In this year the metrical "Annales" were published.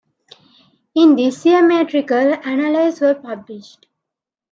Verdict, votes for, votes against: rejected, 0, 2